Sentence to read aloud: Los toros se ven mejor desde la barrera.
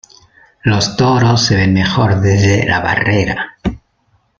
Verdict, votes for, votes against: rejected, 0, 2